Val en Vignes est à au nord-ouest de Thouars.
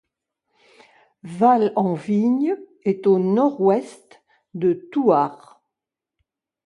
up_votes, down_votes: 0, 2